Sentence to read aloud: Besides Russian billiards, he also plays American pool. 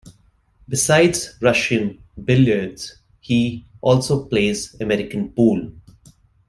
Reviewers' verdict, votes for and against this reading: accepted, 2, 0